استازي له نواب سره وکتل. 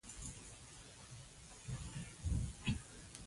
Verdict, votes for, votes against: rejected, 0, 2